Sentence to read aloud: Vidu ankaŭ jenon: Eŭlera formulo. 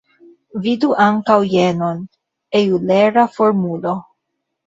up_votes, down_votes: 0, 2